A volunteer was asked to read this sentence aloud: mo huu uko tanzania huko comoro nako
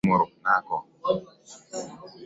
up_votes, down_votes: 0, 2